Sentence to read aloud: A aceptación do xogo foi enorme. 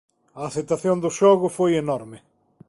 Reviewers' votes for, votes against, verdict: 2, 0, accepted